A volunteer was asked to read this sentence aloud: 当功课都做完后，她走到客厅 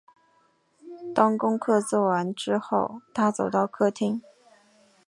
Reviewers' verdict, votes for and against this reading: rejected, 1, 2